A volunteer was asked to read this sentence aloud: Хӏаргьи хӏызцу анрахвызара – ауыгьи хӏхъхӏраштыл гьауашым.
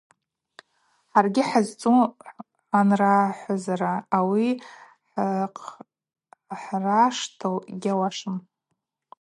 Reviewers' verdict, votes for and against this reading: rejected, 2, 4